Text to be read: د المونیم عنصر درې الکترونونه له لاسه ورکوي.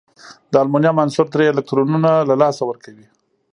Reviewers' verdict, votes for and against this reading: accepted, 2, 0